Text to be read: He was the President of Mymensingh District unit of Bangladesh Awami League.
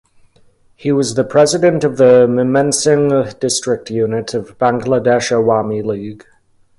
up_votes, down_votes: 1, 2